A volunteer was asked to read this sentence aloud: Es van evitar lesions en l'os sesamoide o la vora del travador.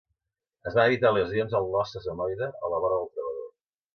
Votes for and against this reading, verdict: 0, 2, rejected